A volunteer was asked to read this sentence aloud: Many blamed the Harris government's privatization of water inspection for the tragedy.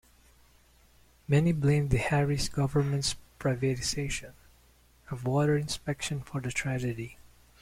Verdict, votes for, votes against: accepted, 2, 0